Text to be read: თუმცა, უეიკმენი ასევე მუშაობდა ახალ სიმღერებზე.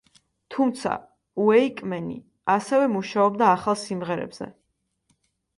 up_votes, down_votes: 2, 0